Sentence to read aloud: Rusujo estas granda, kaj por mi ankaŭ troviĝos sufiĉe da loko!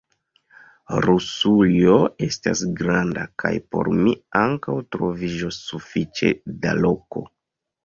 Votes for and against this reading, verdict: 1, 2, rejected